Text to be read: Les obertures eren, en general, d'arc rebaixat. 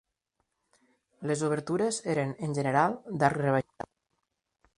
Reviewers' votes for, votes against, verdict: 0, 2, rejected